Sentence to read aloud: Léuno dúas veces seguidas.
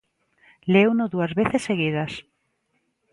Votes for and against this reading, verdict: 2, 0, accepted